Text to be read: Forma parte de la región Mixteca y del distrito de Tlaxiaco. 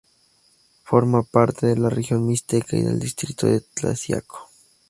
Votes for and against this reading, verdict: 2, 0, accepted